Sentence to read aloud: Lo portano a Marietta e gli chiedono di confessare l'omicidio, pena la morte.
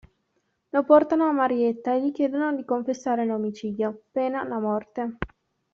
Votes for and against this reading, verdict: 2, 0, accepted